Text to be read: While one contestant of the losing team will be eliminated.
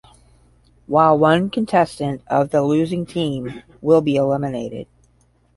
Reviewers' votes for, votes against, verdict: 10, 0, accepted